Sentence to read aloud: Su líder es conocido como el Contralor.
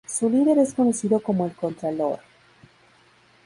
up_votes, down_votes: 4, 0